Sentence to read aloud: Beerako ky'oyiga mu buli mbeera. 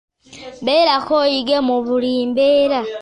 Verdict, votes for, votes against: rejected, 0, 2